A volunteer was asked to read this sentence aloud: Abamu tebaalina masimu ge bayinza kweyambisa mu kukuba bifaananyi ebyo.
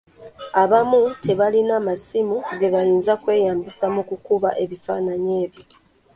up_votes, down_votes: 1, 2